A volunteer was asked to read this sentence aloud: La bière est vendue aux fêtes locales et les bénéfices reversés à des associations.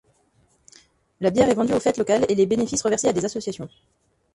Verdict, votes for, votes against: rejected, 1, 2